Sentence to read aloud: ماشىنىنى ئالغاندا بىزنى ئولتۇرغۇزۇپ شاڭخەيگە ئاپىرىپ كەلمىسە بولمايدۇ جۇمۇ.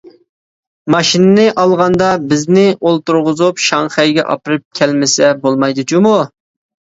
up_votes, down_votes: 2, 0